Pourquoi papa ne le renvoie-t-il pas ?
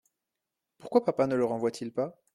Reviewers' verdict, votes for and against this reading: accepted, 2, 0